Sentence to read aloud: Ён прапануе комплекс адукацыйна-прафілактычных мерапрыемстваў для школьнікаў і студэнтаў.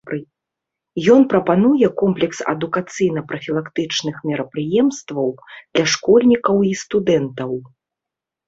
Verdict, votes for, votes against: accepted, 2, 0